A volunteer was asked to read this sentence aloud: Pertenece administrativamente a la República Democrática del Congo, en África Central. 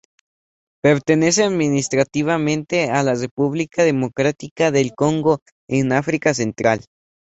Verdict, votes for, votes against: accepted, 2, 0